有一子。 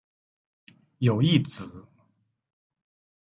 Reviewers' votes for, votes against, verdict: 2, 0, accepted